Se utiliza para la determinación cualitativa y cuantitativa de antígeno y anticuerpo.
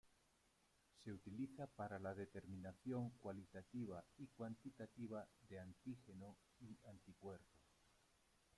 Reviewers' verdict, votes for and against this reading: rejected, 0, 2